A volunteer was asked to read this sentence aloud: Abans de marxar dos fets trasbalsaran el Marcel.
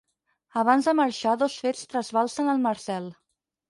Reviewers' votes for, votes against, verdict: 0, 4, rejected